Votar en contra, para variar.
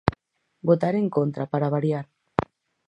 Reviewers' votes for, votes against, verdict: 4, 0, accepted